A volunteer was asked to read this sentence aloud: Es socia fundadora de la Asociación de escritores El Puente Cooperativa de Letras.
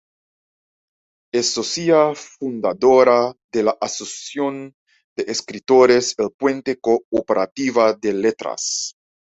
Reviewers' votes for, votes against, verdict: 2, 0, accepted